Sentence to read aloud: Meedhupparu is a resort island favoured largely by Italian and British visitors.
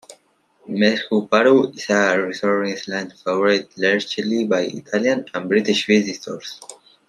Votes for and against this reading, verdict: 0, 2, rejected